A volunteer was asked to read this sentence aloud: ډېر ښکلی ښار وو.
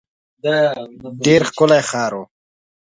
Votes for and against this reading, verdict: 0, 2, rejected